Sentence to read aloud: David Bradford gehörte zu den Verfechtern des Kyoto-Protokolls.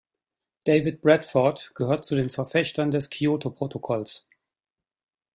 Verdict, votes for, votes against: accepted, 2, 1